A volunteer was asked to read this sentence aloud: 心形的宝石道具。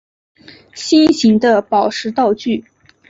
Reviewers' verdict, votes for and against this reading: accepted, 3, 0